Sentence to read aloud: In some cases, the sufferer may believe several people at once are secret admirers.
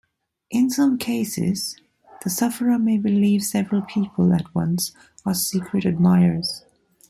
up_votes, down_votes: 3, 1